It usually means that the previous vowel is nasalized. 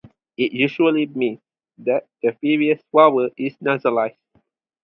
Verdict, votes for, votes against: rejected, 0, 4